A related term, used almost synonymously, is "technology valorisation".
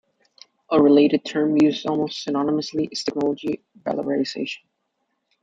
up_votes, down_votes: 2, 0